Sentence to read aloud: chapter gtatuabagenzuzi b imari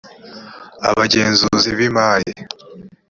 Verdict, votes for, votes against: rejected, 1, 2